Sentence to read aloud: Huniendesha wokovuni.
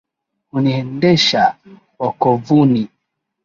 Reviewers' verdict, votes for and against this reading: accepted, 3, 1